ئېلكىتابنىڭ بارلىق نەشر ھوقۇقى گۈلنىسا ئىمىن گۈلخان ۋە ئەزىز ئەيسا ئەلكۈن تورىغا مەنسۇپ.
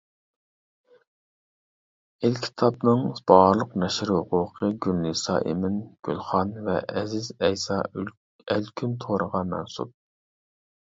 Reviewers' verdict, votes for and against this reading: rejected, 1, 2